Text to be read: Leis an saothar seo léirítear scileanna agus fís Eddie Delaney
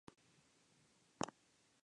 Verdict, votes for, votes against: rejected, 0, 2